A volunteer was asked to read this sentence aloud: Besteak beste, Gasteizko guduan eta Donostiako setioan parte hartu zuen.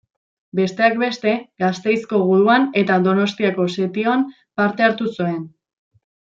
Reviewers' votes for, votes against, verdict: 2, 0, accepted